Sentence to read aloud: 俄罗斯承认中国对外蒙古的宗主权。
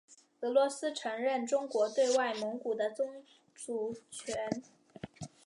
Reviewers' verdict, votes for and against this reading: accepted, 5, 0